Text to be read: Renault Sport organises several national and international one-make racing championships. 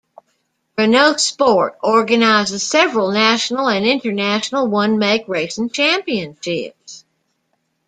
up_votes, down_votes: 2, 0